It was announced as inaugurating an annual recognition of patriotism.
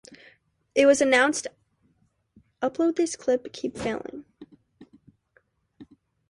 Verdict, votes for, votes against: rejected, 0, 2